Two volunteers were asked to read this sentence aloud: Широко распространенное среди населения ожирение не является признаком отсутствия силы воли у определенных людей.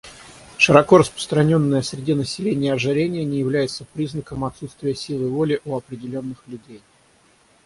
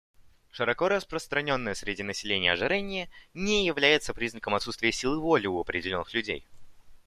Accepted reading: second